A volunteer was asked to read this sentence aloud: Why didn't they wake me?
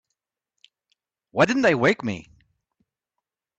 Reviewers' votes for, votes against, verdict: 3, 0, accepted